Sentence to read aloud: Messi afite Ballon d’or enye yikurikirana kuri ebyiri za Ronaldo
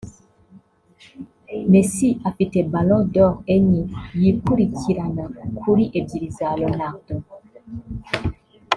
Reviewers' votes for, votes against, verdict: 1, 2, rejected